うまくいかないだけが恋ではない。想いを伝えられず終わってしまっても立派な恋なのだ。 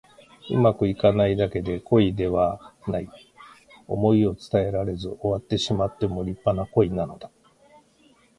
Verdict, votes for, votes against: rejected, 1, 2